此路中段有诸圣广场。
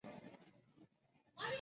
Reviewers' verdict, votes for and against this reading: rejected, 1, 3